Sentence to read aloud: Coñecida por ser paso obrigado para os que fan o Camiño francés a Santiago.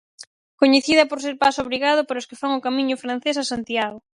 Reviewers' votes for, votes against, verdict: 4, 0, accepted